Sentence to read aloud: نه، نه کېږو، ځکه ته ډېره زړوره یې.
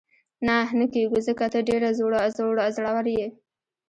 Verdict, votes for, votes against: rejected, 1, 2